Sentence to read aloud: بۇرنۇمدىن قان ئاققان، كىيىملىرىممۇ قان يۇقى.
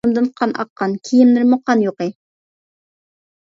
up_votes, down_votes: 0, 2